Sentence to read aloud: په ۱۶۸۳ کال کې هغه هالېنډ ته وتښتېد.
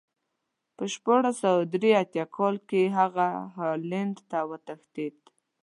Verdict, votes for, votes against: rejected, 0, 2